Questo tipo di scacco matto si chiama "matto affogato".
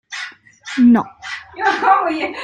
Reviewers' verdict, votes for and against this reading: rejected, 0, 2